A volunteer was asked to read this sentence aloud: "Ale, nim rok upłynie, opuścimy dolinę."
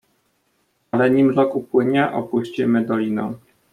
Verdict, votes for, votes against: rejected, 1, 2